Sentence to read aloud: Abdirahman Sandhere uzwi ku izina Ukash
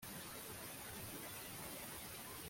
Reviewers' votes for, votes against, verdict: 0, 2, rejected